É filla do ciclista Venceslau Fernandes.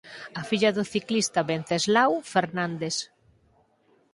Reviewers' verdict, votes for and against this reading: rejected, 2, 4